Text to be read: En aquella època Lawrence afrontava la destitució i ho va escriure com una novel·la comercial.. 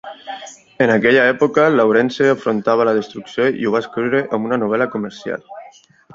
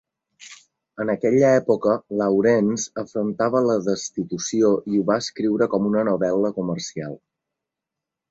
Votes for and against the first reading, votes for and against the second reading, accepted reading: 1, 2, 2, 0, second